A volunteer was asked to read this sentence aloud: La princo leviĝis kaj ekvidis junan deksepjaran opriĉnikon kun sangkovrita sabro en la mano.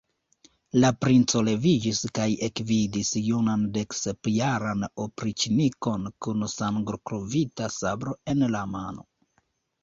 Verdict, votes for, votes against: rejected, 1, 3